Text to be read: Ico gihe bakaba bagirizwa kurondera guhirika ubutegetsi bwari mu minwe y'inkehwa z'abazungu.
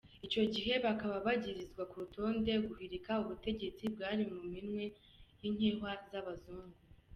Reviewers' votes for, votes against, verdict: 0, 2, rejected